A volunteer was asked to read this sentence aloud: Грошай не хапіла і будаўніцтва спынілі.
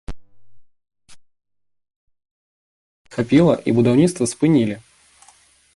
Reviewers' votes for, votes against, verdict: 0, 2, rejected